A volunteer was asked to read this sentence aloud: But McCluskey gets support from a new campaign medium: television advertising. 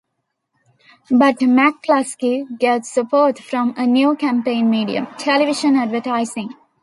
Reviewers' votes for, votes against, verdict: 2, 0, accepted